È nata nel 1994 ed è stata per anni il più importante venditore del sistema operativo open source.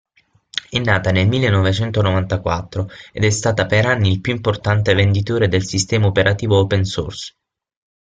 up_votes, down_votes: 0, 2